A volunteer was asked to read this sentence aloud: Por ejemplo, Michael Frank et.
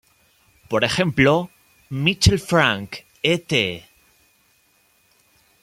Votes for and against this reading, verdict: 2, 1, accepted